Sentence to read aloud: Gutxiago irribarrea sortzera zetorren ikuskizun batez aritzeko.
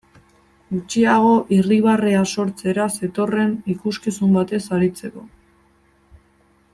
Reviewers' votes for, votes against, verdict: 2, 1, accepted